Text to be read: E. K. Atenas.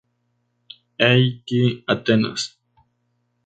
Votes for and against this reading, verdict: 2, 0, accepted